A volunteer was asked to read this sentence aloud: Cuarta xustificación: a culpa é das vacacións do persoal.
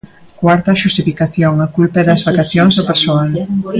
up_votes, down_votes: 0, 2